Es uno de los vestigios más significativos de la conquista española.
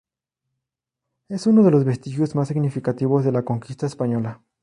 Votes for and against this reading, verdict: 2, 0, accepted